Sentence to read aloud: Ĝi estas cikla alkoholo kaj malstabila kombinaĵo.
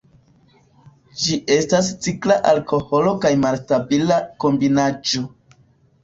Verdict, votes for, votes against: accepted, 2, 0